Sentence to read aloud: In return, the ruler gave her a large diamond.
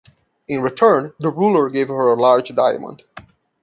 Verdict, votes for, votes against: accepted, 2, 0